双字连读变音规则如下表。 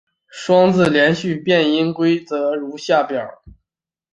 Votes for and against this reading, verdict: 2, 0, accepted